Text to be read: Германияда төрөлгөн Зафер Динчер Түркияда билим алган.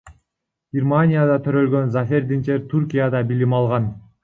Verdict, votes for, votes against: rejected, 0, 2